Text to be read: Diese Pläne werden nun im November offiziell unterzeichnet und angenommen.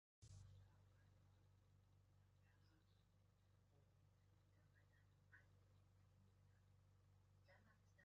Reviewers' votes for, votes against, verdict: 0, 2, rejected